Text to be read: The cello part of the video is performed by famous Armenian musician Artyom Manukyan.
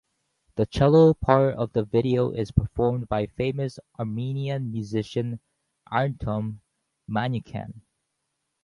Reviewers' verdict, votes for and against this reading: rejected, 0, 2